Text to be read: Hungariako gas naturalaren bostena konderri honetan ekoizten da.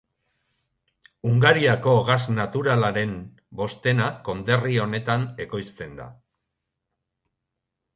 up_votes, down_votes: 3, 0